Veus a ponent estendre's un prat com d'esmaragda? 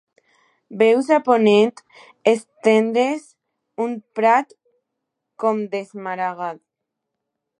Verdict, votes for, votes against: rejected, 1, 2